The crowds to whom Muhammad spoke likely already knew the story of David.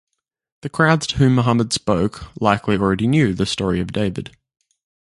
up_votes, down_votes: 2, 0